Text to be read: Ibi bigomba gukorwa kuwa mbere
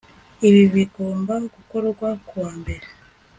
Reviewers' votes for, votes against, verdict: 2, 0, accepted